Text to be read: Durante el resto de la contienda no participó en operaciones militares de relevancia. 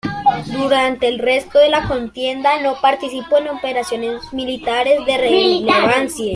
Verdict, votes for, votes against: rejected, 1, 2